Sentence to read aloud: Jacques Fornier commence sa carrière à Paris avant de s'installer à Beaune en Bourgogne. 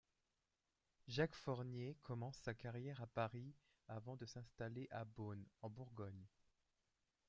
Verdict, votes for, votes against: accepted, 2, 1